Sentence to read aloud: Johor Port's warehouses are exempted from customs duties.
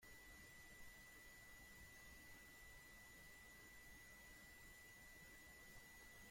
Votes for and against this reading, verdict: 0, 3, rejected